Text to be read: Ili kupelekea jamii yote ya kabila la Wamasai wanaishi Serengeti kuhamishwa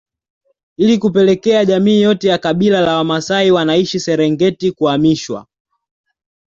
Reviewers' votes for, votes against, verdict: 2, 0, accepted